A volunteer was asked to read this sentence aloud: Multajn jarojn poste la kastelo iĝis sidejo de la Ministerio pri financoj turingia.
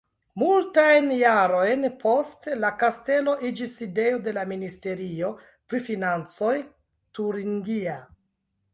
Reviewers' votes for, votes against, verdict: 2, 0, accepted